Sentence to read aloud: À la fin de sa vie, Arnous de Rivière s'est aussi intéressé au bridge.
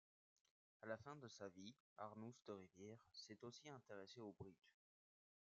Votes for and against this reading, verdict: 1, 2, rejected